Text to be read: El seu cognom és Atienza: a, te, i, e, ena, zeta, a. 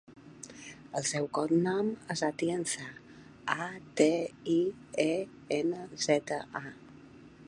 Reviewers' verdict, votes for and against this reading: accepted, 2, 1